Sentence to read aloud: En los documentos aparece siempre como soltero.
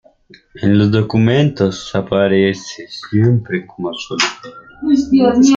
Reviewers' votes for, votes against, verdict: 1, 2, rejected